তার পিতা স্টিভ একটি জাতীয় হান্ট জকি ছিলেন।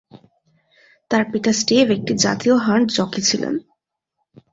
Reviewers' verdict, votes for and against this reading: accepted, 2, 0